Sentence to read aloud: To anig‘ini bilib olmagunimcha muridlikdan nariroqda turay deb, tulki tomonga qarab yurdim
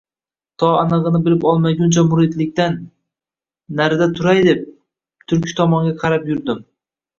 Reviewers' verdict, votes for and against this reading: rejected, 0, 2